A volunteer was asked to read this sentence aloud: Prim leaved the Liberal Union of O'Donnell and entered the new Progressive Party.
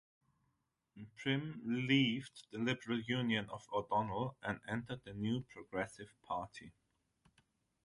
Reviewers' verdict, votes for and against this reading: accepted, 3, 0